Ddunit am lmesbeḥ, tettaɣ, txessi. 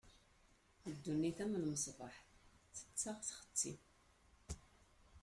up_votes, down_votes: 2, 1